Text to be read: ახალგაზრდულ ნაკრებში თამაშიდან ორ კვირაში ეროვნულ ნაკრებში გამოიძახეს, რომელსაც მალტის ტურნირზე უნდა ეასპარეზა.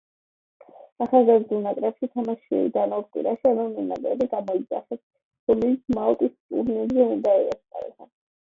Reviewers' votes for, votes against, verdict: 1, 2, rejected